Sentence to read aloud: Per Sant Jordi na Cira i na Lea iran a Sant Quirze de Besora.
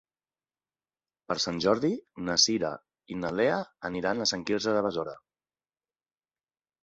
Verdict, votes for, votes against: rejected, 0, 3